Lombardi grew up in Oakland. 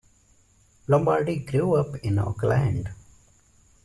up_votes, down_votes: 2, 0